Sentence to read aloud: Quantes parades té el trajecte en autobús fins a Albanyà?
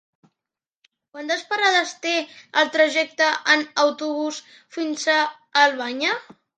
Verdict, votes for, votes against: accepted, 3, 1